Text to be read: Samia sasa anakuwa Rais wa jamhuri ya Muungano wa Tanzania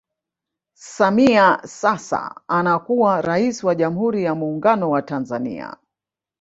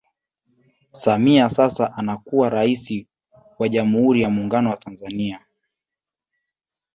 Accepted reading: second